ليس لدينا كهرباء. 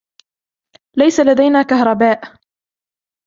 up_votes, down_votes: 2, 0